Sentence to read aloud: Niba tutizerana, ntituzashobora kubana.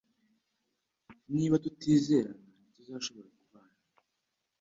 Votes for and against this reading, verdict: 1, 2, rejected